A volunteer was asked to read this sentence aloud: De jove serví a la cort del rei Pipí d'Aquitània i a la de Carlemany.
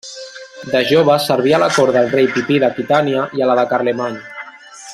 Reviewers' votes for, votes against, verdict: 2, 0, accepted